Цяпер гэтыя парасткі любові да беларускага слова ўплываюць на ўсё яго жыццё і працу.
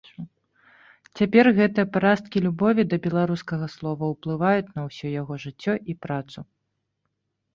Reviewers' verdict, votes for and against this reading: rejected, 0, 2